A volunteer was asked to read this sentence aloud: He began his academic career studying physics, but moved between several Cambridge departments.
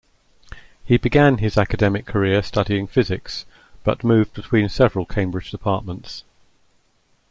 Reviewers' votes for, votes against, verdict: 2, 0, accepted